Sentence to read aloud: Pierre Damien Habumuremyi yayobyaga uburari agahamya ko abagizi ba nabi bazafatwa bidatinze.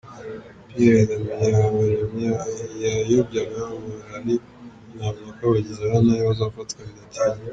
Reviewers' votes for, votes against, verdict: 1, 2, rejected